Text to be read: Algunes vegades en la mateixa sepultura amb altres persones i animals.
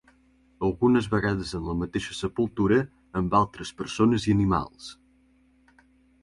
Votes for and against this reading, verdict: 2, 0, accepted